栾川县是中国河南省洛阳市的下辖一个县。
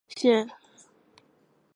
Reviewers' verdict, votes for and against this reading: accepted, 6, 2